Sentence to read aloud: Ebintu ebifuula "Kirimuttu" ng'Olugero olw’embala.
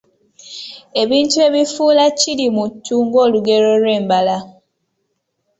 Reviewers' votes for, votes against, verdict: 2, 0, accepted